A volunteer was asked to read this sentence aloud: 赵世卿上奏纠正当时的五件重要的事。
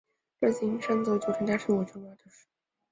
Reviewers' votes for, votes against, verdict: 1, 2, rejected